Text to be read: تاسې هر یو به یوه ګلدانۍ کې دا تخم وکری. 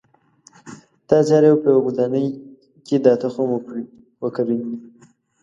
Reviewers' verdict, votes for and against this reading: rejected, 1, 2